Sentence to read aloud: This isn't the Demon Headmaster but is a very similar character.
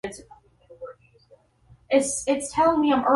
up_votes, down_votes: 0, 2